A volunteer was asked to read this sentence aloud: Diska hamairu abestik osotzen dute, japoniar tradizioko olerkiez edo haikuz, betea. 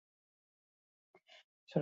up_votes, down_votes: 0, 4